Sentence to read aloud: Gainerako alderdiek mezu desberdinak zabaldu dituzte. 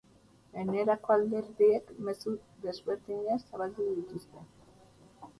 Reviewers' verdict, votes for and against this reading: rejected, 0, 2